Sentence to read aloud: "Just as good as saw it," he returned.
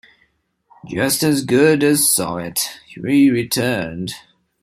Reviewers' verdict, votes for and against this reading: rejected, 1, 2